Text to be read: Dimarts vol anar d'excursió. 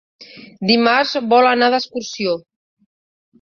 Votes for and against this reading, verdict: 2, 0, accepted